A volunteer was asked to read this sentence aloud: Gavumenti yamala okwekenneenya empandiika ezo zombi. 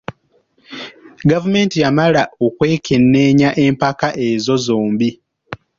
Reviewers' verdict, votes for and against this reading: rejected, 1, 2